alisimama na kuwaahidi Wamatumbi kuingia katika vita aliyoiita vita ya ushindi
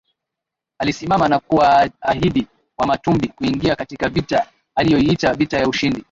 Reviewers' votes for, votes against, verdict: 16, 6, accepted